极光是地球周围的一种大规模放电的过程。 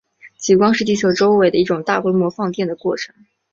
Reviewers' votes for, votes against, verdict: 2, 0, accepted